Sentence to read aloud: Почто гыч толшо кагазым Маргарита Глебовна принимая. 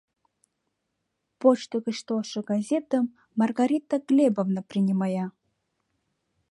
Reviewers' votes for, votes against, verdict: 0, 2, rejected